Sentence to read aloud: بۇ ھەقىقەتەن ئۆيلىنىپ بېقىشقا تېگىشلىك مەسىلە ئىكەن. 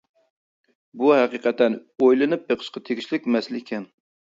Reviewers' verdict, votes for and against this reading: rejected, 0, 2